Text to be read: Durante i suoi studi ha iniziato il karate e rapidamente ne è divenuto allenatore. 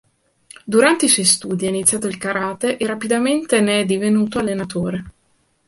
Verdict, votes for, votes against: accepted, 2, 0